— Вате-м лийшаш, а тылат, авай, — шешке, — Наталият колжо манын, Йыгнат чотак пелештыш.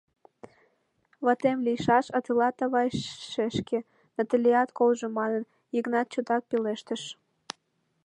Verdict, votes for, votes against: rejected, 0, 2